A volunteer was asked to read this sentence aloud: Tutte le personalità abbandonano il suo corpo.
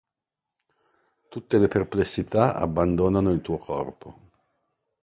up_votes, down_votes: 1, 2